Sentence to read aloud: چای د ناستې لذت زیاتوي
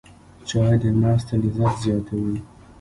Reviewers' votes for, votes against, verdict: 0, 2, rejected